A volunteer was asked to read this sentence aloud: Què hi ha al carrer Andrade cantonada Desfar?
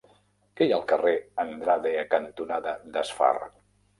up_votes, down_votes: 0, 2